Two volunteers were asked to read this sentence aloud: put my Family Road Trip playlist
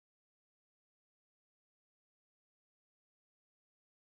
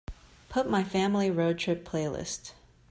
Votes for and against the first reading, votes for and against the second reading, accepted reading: 0, 2, 2, 0, second